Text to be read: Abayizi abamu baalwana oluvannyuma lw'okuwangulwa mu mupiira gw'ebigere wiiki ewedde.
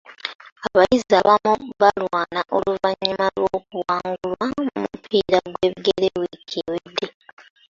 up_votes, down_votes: 1, 2